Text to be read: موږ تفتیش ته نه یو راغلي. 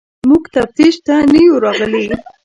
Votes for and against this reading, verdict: 0, 2, rejected